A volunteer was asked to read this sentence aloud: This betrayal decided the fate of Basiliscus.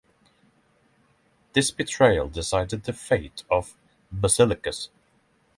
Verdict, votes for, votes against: accepted, 6, 0